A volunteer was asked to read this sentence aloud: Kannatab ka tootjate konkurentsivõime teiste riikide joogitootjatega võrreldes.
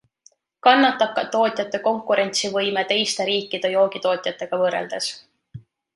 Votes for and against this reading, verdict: 2, 0, accepted